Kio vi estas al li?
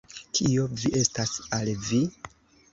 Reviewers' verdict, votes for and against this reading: rejected, 0, 2